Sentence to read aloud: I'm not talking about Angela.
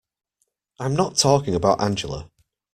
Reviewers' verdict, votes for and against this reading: accepted, 2, 0